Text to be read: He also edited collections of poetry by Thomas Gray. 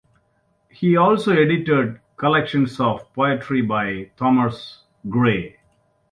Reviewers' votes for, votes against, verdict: 2, 0, accepted